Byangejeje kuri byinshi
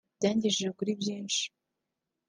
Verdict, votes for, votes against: accepted, 2, 0